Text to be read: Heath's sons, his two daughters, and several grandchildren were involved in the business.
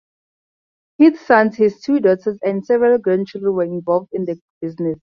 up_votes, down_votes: 0, 2